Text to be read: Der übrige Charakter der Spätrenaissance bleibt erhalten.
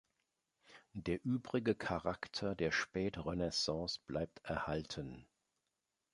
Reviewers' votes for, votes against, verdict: 2, 0, accepted